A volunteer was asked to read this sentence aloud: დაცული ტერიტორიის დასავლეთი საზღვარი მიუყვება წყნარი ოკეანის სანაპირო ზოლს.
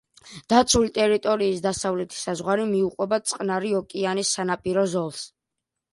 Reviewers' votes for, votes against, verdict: 2, 0, accepted